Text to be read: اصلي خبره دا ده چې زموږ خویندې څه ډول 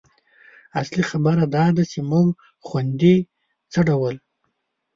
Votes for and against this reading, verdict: 1, 2, rejected